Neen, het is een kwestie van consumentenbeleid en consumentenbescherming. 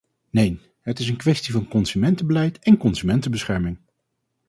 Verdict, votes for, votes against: rejected, 2, 2